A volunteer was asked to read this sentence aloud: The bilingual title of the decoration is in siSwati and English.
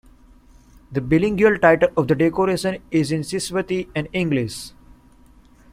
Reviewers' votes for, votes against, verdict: 0, 2, rejected